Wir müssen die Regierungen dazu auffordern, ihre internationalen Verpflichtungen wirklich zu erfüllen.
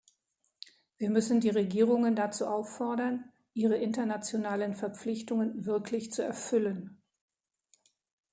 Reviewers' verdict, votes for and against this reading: accepted, 2, 0